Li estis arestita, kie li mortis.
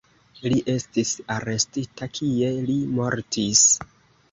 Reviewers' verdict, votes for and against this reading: accepted, 2, 0